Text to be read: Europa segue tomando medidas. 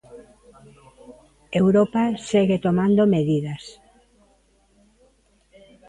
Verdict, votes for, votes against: accepted, 2, 0